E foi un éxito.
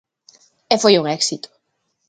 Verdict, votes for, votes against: accepted, 2, 0